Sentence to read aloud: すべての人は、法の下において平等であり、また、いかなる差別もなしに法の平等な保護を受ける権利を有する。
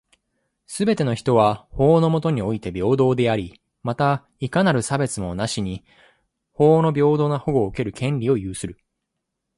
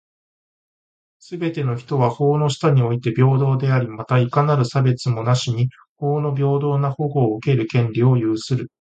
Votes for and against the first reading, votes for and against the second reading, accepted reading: 2, 0, 1, 2, first